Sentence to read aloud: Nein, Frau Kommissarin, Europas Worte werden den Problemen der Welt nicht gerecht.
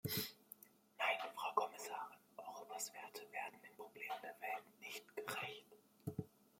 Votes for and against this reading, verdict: 0, 2, rejected